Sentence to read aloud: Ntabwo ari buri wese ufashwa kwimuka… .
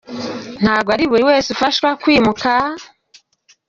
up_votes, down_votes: 2, 1